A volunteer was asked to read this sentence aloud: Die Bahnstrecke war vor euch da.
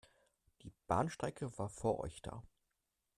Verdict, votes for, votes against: accepted, 2, 0